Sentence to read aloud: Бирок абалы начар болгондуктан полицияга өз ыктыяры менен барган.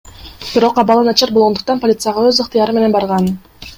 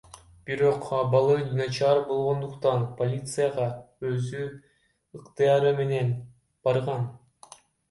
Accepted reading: first